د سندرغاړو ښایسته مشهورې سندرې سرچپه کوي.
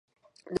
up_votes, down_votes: 0, 2